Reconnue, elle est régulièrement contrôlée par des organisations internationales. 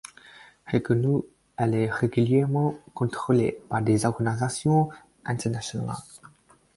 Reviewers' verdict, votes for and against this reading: rejected, 2, 4